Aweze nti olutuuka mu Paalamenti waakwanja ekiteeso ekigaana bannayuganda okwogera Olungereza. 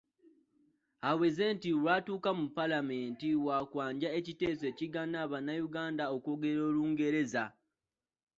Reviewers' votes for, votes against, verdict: 0, 2, rejected